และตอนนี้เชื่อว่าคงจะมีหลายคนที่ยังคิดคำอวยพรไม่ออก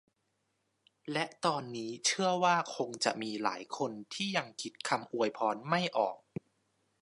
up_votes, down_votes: 2, 0